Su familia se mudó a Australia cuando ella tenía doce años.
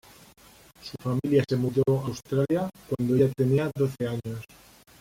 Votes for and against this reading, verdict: 1, 2, rejected